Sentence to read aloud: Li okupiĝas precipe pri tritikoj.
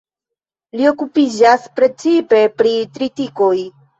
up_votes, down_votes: 2, 0